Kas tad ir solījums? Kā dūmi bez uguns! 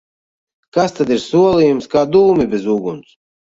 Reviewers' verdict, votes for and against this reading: rejected, 0, 2